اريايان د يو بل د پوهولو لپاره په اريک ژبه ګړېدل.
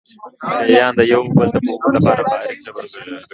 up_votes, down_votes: 0, 2